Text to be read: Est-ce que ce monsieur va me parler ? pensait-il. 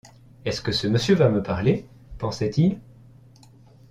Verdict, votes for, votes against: accepted, 2, 0